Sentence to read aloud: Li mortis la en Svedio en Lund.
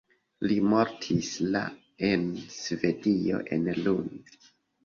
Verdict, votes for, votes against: accepted, 2, 1